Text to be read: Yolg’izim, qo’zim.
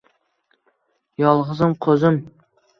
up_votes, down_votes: 1, 2